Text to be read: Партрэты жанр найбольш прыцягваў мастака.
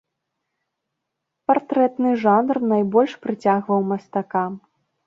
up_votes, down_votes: 2, 0